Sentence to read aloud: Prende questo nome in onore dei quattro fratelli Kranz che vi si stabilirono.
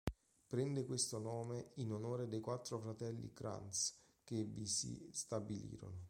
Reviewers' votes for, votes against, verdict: 2, 0, accepted